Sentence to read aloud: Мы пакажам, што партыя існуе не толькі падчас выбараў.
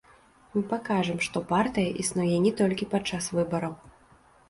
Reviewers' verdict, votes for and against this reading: rejected, 1, 2